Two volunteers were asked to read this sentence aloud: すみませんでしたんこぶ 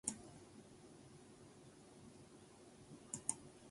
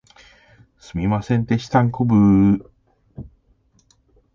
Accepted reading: second